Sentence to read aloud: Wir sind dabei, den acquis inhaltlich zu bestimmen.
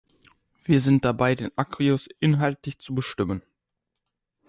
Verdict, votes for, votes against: rejected, 0, 2